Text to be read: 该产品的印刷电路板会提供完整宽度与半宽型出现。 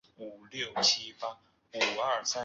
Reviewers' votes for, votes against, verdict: 0, 2, rejected